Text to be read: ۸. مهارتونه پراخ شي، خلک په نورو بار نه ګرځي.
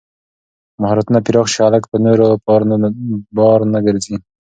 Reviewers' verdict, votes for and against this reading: rejected, 0, 2